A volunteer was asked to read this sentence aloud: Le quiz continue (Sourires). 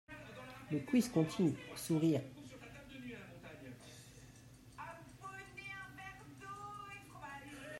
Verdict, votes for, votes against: rejected, 0, 2